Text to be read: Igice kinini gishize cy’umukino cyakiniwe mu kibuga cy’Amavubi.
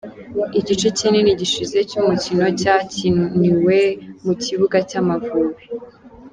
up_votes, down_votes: 2, 0